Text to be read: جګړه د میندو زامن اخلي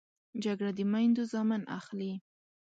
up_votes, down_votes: 2, 0